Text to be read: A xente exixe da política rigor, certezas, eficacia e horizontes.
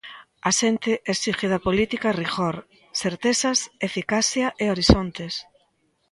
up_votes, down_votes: 0, 2